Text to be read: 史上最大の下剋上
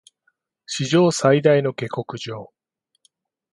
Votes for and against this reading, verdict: 2, 0, accepted